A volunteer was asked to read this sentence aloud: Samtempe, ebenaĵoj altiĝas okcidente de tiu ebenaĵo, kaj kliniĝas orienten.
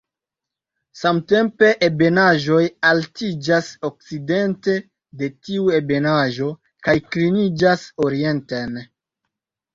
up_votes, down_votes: 2, 0